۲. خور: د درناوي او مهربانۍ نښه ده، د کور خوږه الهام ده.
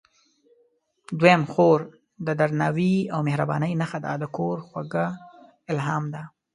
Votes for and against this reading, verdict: 0, 2, rejected